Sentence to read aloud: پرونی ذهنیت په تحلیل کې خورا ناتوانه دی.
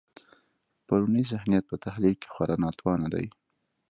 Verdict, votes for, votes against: rejected, 1, 2